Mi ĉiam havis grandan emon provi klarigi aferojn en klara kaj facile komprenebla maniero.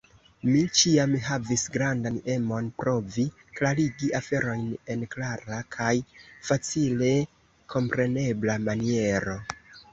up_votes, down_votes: 1, 2